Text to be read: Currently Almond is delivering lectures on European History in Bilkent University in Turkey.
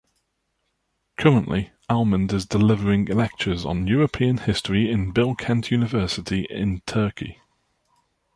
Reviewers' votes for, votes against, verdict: 2, 0, accepted